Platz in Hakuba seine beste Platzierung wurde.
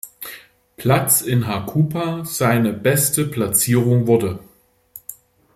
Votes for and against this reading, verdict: 2, 0, accepted